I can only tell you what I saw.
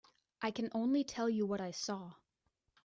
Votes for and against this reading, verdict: 3, 1, accepted